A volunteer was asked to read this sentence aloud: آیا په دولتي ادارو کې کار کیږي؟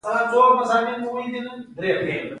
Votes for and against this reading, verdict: 2, 0, accepted